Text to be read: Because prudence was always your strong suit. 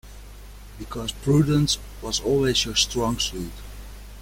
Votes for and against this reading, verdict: 2, 0, accepted